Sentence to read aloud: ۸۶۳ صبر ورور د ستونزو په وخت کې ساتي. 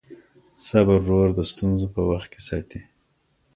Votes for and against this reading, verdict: 0, 2, rejected